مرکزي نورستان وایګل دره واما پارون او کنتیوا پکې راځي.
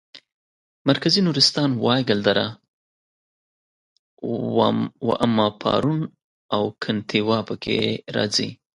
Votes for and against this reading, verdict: 2, 1, accepted